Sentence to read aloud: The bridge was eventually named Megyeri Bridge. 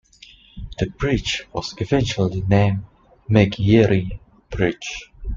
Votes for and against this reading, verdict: 2, 0, accepted